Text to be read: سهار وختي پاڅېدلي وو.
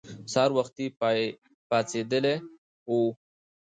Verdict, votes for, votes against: rejected, 1, 2